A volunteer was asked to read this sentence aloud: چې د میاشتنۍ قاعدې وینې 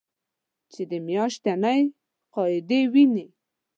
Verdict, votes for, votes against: accepted, 2, 1